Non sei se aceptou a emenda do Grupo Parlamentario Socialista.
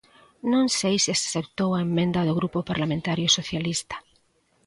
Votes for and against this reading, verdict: 2, 0, accepted